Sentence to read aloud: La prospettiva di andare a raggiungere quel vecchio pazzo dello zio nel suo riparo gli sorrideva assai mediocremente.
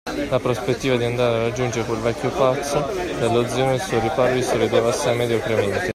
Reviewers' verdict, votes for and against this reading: rejected, 0, 2